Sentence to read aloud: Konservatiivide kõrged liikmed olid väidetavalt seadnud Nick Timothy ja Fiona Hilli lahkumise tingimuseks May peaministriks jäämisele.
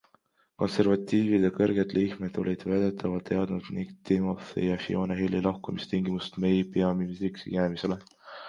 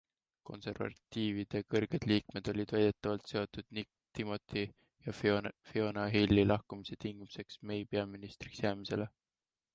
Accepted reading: second